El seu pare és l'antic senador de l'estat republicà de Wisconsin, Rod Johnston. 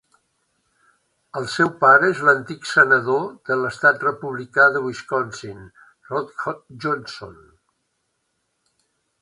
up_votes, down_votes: 1, 3